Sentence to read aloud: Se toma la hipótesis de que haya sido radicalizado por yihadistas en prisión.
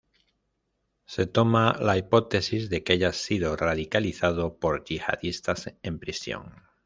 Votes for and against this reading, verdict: 2, 0, accepted